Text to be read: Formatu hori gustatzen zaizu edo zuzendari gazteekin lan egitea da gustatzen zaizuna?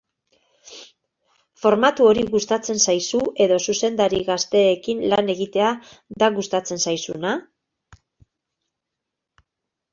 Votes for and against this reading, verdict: 2, 0, accepted